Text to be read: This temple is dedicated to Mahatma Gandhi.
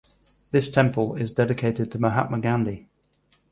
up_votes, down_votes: 4, 0